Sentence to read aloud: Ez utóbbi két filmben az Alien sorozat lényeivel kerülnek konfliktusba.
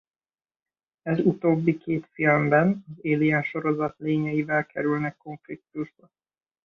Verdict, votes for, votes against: rejected, 0, 2